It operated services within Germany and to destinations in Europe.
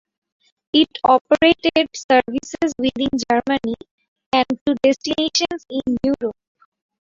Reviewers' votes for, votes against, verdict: 0, 2, rejected